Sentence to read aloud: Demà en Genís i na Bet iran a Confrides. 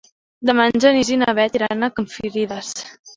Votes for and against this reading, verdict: 2, 1, accepted